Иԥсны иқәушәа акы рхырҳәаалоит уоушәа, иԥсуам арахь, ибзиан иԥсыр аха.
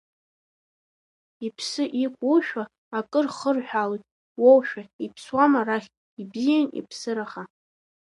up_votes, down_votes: 1, 2